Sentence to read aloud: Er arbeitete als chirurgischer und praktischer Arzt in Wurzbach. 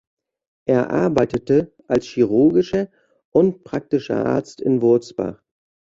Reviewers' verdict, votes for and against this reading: accepted, 2, 0